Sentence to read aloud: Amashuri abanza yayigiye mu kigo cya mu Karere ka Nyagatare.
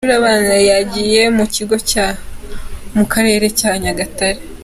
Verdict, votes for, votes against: rejected, 0, 2